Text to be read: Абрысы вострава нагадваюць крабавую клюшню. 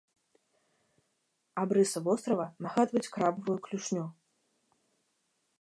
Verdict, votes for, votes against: accepted, 2, 0